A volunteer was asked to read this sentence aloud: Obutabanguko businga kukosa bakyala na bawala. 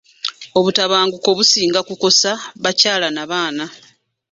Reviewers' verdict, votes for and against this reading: rejected, 1, 2